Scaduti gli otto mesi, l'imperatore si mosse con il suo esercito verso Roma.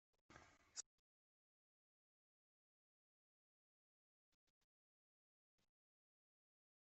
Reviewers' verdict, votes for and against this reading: rejected, 0, 2